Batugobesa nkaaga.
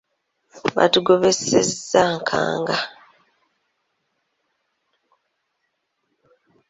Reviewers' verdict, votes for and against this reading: rejected, 1, 2